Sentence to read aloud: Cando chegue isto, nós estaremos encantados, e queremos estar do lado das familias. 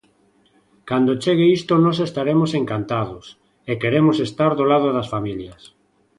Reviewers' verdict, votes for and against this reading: accepted, 2, 0